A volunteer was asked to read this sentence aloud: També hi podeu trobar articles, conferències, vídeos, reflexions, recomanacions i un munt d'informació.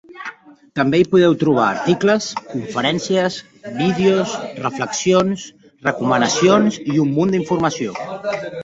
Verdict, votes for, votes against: rejected, 1, 2